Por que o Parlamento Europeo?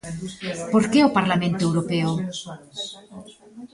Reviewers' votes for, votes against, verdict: 1, 2, rejected